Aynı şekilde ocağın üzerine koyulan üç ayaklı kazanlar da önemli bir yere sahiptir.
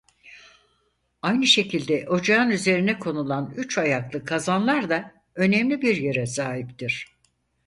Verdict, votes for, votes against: rejected, 2, 4